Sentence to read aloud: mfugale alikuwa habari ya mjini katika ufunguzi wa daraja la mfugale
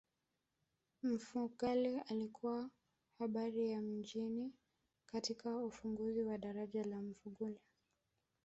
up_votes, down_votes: 0, 2